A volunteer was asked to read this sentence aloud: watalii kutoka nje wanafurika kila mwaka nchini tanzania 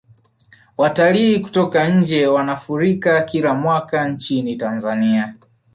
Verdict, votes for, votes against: accepted, 2, 0